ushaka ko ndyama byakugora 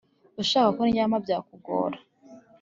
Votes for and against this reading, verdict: 2, 0, accepted